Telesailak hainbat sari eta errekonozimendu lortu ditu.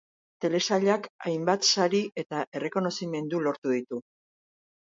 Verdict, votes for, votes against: accepted, 8, 0